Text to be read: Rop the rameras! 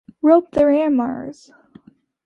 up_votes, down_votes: 2, 0